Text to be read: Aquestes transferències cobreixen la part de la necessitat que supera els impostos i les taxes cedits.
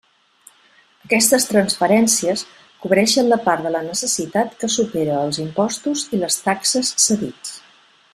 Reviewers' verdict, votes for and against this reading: accepted, 3, 0